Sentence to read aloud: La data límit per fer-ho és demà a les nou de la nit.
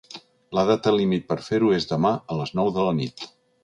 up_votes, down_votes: 3, 0